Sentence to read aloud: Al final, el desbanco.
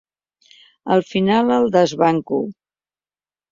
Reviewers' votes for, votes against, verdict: 3, 0, accepted